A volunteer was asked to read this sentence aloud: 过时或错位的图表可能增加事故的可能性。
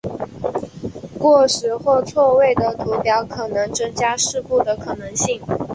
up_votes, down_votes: 1, 2